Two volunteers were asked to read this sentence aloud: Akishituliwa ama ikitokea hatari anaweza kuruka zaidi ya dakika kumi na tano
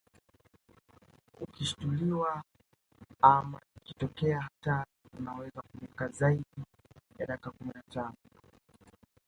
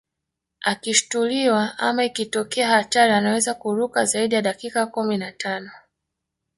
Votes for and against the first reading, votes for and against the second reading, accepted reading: 1, 2, 2, 0, second